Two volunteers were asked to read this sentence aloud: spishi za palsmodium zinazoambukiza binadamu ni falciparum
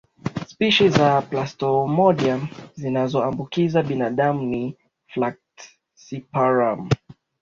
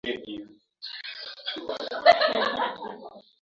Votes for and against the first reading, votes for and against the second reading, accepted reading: 2, 1, 1, 15, first